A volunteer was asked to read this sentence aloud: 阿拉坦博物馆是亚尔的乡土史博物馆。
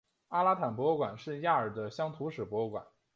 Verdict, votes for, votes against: accepted, 4, 1